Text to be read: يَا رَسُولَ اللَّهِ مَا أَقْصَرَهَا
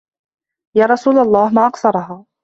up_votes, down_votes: 2, 1